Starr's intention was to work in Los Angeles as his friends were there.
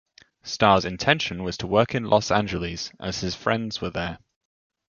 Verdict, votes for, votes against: accepted, 2, 0